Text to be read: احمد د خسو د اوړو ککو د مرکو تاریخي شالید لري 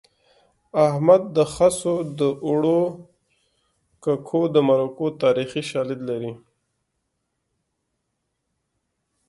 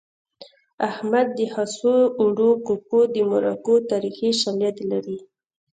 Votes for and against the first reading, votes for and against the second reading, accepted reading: 1, 2, 2, 0, second